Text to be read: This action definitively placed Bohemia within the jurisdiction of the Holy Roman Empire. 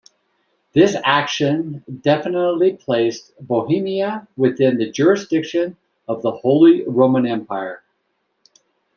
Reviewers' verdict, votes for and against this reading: rejected, 0, 2